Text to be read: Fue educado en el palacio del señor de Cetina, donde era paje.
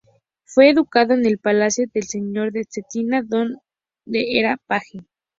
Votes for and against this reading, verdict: 2, 0, accepted